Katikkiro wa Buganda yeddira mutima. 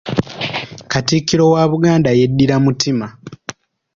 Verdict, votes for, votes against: accepted, 2, 0